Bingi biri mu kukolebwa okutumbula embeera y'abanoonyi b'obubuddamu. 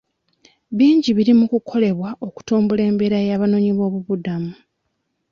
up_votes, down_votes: 2, 0